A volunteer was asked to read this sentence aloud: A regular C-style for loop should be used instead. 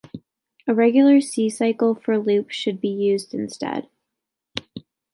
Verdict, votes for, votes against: rejected, 1, 2